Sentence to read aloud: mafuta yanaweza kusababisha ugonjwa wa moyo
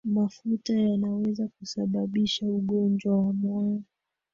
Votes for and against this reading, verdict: 1, 2, rejected